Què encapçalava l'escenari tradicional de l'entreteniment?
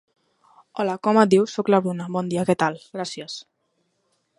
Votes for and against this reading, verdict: 1, 2, rejected